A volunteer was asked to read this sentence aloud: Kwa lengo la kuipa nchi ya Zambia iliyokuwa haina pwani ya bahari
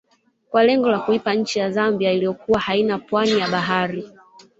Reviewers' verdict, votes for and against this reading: rejected, 1, 2